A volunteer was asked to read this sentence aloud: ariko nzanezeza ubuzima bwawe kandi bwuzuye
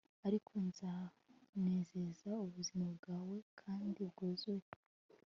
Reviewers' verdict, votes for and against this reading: accepted, 2, 0